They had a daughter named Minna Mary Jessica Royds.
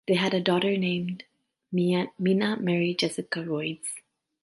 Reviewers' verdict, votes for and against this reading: accepted, 2, 1